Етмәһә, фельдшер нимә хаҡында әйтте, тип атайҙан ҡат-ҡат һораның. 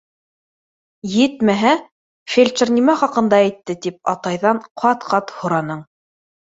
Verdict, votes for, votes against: accepted, 2, 0